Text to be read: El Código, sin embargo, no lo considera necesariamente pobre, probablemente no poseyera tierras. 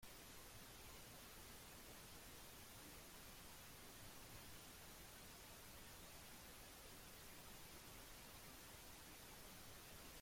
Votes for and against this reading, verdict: 0, 2, rejected